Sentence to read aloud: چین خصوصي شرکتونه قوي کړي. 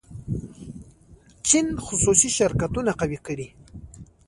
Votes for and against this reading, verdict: 1, 2, rejected